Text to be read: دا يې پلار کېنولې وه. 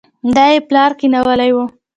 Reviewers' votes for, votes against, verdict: 2, 0, accepted